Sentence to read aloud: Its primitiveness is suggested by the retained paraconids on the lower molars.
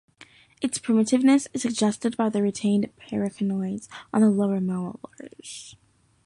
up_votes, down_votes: 0, 2